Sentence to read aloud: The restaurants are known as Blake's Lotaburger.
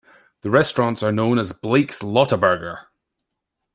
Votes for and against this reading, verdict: 2, 0, accepted